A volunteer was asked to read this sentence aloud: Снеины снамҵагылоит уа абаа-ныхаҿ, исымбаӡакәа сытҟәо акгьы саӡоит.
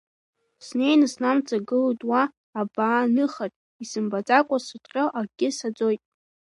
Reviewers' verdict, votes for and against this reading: rejected, 1, 2